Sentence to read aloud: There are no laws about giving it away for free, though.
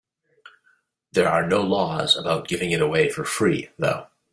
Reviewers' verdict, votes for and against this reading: accepted, 2, 0